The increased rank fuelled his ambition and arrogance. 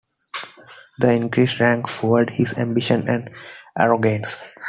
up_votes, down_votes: 2, 1